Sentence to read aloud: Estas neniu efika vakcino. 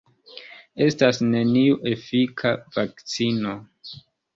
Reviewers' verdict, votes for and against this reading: accepted, 2, 1